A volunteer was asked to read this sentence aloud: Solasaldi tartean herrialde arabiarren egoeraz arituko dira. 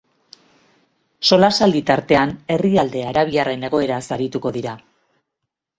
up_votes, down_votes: 2, 0